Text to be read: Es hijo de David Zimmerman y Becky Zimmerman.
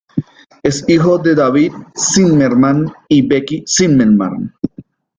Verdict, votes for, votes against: rejected, 1, 2